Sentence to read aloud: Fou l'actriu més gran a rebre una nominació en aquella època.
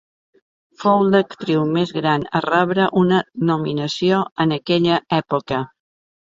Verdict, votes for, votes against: accepted, 2, 0